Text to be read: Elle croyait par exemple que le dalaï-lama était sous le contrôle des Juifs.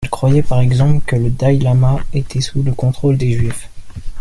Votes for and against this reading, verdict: 1, 2, rejected